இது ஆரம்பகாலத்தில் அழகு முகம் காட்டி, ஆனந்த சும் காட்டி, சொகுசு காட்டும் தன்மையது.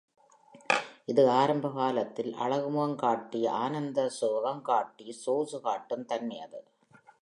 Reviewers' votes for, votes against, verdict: 2, 0, accepted